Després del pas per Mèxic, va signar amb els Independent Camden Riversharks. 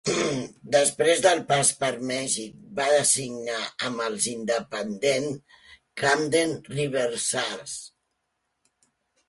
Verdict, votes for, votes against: rejected, 1, 2